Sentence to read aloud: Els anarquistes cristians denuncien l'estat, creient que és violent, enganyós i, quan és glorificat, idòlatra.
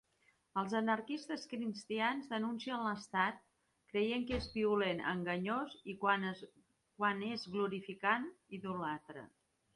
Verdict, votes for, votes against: rejected, 1, 3